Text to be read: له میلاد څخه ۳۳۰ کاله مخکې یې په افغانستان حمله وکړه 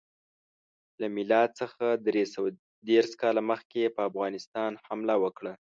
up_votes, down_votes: 0, 2